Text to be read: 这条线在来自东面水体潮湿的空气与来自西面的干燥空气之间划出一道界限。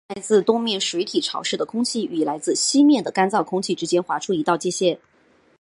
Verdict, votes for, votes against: accepted, 2, 0